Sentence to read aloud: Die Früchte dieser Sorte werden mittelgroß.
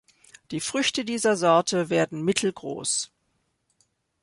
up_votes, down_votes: 2, 0